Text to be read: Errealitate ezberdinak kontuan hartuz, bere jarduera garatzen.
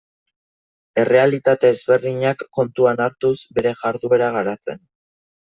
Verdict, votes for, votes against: accepted, 2, 0